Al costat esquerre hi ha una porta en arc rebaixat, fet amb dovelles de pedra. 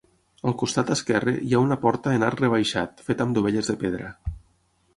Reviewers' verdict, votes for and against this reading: accepted, 6, 0